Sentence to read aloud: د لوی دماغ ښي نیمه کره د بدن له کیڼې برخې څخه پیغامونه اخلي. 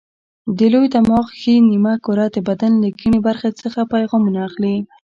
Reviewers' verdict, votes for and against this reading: accepted, 2, 0